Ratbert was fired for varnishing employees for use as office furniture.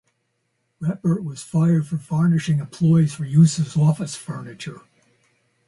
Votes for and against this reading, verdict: 2, 0, accepted